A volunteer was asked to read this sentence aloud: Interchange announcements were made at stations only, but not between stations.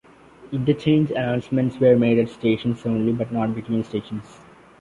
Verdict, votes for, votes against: rejected, 1, 2